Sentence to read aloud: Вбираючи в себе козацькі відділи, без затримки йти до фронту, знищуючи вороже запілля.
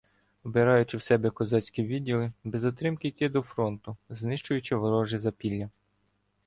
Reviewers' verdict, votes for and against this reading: rejected, 1, 2